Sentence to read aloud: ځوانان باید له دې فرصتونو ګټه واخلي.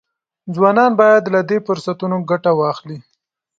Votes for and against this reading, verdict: 2, 0, accepted